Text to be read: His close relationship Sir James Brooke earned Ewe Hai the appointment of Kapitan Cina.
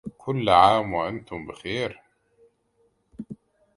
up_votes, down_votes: 0, 2